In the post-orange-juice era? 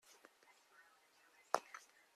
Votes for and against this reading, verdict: 0, 2, rejected